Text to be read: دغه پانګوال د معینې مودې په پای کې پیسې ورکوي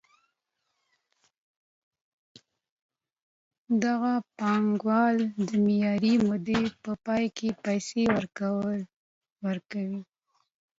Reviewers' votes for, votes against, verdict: 0, 2, rejected